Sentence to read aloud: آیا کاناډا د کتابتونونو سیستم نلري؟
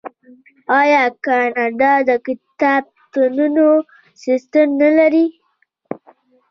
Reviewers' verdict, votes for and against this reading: rejected, 0, 2